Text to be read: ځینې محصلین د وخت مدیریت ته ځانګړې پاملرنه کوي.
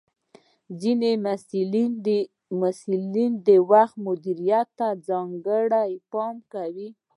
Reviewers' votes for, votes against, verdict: 2, 1, accepted